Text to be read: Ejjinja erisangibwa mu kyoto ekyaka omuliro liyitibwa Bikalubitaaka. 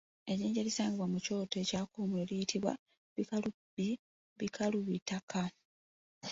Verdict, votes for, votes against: rejected, 1, 2